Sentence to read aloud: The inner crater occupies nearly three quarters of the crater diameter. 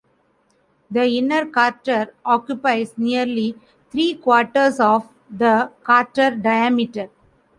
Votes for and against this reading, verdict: 0, 2, rejected